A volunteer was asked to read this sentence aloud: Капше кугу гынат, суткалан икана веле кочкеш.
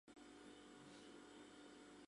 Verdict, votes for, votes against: rejected, 0, 2